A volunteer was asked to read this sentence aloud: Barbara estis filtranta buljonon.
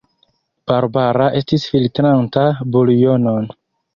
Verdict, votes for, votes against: accepted, 2, 0